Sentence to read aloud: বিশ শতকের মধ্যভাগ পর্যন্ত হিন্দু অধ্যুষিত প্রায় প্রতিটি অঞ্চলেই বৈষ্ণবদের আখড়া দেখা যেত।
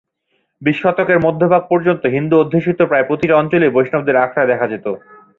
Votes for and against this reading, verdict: 2, 0, accepted